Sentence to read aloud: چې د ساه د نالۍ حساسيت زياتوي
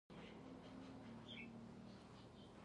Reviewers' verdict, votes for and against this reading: rejected, 1, 2